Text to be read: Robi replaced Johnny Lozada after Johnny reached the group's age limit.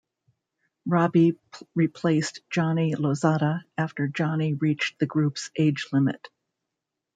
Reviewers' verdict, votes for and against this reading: accepted, 2, 0